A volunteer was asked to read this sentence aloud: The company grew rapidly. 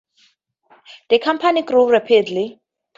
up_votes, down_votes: 0, 2